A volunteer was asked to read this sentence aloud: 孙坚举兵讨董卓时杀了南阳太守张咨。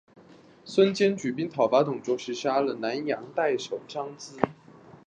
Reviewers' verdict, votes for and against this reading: accepted, 5, 0